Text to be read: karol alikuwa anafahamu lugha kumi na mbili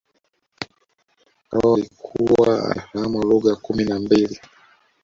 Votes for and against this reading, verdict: 1, 2, rejected